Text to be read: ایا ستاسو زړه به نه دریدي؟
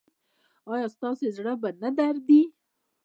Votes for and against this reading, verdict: 0, 2, rejected